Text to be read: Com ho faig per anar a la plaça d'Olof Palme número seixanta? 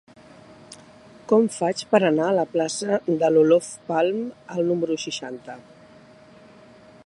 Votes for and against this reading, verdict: 2, 3, rejected